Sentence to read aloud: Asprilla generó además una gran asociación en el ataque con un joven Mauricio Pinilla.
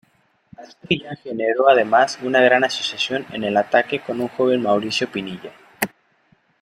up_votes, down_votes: 0, 2